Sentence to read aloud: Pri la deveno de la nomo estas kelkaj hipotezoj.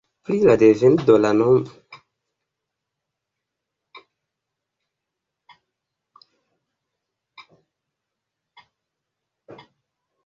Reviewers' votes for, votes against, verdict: 2, 1, accepted